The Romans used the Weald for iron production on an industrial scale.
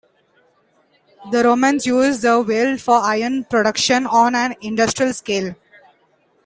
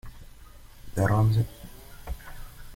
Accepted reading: first